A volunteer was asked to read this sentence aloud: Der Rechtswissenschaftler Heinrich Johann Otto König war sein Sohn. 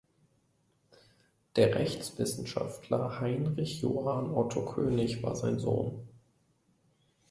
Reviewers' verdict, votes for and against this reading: accepted, 2, 0